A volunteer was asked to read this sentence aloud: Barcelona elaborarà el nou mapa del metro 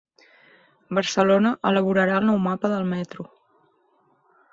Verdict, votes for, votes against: accepted, 4, 0